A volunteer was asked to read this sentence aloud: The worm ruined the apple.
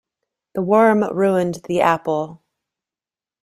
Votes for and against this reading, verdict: 1, 2, rejected